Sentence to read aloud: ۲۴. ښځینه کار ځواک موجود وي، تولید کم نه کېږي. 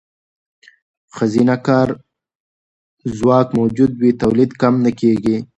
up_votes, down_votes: 0, 2